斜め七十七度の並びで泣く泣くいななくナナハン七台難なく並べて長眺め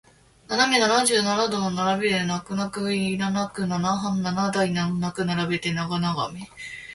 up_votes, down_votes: 2, 1